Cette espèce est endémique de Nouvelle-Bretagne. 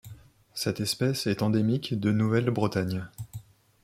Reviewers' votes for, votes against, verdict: 2, 0, accepted